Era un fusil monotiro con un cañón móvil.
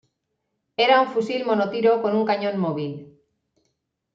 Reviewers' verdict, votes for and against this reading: accepted, 2, 0